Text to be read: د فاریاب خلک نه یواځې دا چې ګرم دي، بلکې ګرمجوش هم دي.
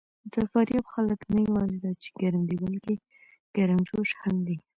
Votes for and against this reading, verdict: 2, 0, accepted